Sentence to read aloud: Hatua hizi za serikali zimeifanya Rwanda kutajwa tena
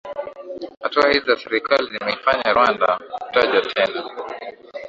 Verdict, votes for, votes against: accepted, 2, 0